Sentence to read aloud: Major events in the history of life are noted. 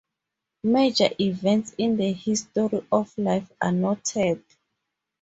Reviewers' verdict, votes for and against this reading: accepted, 2, 0